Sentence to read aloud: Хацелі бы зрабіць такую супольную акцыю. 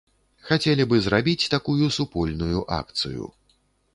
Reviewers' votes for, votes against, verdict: 2, 0, accepted